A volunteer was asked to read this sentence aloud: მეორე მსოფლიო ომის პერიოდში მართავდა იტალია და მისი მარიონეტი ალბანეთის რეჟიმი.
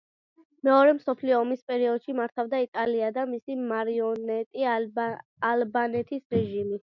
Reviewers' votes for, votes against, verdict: 1, 2, rejected